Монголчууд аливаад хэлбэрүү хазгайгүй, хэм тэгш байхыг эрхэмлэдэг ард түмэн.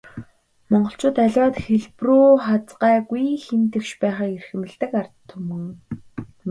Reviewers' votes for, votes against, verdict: 4, 0, accepted